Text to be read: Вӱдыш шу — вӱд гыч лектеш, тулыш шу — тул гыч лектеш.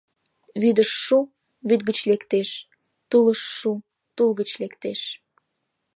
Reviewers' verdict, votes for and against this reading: accepted, 3, 0